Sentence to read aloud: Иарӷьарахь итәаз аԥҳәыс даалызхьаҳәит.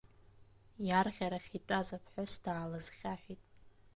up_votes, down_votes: 2, 0